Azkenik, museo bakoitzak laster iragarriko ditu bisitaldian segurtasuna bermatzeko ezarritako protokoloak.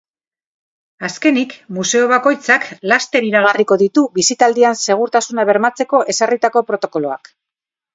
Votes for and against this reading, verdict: 2, 0, accepted